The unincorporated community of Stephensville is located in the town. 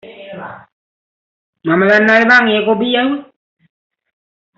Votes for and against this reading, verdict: 0, 2, rejected